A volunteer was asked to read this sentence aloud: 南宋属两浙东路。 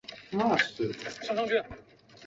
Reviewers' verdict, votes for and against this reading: rejected, 0, 4